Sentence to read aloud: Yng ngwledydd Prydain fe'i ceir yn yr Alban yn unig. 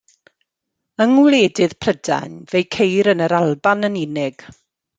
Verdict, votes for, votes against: rejected, 1, 2